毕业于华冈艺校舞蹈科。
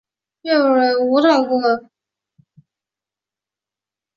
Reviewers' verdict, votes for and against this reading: rejected, 0, 3